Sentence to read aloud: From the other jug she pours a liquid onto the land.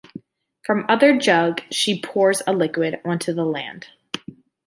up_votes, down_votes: 2, 0